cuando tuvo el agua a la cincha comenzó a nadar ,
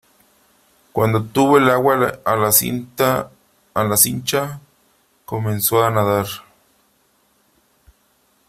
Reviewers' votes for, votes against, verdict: 1, 3, rejected